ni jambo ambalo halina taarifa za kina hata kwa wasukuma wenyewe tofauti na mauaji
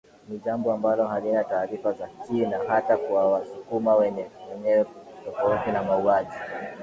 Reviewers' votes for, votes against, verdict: 1, 2, rejected